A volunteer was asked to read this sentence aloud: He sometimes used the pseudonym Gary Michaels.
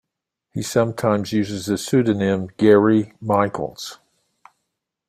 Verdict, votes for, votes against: rejected, 1, 2